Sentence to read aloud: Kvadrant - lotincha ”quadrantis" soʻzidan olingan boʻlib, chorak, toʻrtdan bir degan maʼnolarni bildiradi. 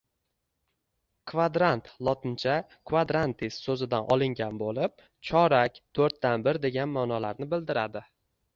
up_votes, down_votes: 2, 0